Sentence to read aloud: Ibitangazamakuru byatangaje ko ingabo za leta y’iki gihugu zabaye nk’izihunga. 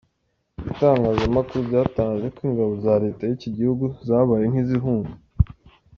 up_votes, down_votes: 2, 0